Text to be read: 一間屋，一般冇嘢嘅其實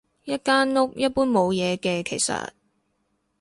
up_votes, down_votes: 2, 0